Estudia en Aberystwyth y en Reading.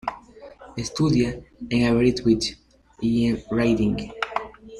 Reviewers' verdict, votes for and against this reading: rejected, 2, 3